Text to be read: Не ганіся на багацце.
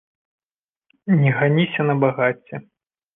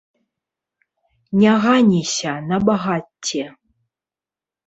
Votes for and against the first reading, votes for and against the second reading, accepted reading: 2, 0, 0, 2, first